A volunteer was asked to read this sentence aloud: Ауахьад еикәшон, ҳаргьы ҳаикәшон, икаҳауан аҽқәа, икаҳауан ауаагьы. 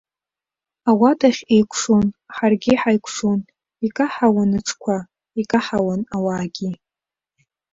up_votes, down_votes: 1, 2